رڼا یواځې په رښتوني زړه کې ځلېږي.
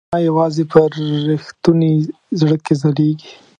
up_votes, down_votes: 1, 2